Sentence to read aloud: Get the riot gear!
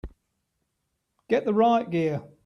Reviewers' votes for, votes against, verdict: 2, 0, accepted